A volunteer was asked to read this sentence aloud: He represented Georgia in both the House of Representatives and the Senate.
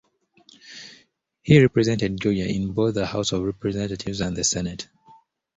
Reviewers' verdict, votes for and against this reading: rejected, 1, 2